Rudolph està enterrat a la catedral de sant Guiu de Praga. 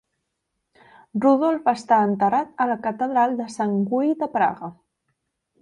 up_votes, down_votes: 0, 2